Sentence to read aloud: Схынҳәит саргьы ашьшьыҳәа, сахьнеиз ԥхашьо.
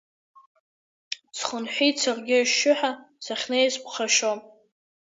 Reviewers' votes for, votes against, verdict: 2, 0, accepted